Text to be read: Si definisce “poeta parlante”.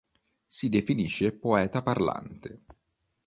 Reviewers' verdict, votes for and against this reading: accepted, 2, 0